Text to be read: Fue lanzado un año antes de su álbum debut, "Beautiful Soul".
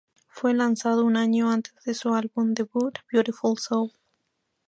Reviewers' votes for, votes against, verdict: 2, 0, accepted